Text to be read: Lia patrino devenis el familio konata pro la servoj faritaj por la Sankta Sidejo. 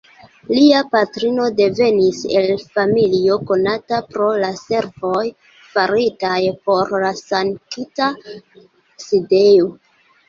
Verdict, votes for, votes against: rejected, 0, 2